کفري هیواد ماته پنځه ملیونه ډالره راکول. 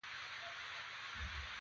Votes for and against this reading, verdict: 1, 2, rejected